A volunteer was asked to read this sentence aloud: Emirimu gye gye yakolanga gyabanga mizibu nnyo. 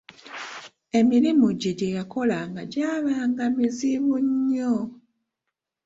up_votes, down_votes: 0, 2